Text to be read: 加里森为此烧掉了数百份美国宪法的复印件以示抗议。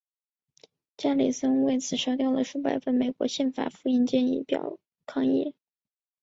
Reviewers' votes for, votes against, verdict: 1, 2, rejected